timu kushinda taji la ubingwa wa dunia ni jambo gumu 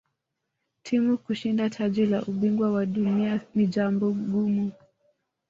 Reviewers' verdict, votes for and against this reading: accepted, 2, 1